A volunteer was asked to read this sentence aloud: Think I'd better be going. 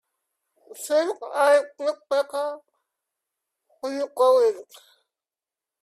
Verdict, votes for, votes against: rejected, 0, 2